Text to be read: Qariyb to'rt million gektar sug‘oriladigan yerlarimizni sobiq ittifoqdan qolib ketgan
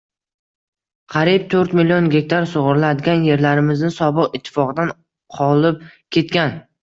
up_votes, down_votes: 2, 0